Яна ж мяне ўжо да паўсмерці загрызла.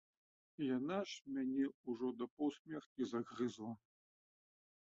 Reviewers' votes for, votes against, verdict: 1, 2, rejected